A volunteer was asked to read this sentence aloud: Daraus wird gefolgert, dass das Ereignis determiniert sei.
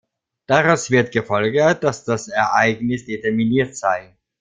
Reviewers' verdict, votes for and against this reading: accepted, 2, 0